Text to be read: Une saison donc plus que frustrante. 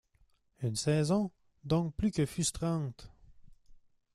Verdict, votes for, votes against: accepted, 2, 0